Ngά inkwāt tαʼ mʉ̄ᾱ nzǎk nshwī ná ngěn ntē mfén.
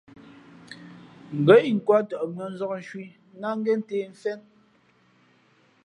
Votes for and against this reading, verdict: 2, 0, accepted